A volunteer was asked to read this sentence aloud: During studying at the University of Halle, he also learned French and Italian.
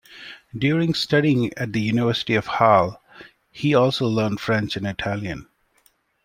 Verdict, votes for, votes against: accepted, 2, 0